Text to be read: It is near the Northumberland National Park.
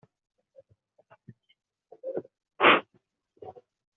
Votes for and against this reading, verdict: 0, 2, rejected